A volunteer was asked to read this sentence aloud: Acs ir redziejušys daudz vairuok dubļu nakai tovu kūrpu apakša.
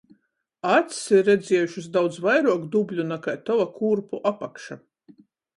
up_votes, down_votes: 0, 7